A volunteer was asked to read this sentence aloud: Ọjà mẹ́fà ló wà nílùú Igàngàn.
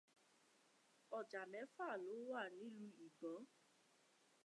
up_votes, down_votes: 0, 2